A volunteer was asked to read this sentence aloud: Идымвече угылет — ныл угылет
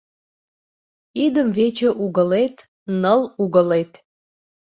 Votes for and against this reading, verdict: 2, 0, accepted